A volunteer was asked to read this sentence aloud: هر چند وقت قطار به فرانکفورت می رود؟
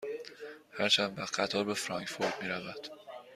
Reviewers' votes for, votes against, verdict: 2, 0, accepted